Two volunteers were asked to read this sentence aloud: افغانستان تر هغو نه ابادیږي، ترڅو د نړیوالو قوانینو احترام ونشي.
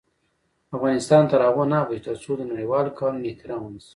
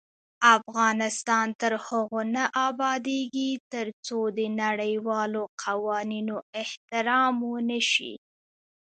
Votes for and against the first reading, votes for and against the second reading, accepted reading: 1, 2, 2, 1, second